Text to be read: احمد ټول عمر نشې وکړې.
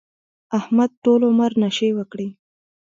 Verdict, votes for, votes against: rejected, 0, 2